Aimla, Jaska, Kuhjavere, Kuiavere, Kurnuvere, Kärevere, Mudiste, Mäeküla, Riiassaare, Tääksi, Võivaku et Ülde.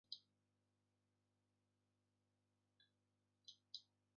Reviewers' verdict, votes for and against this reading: rejected, 0, 2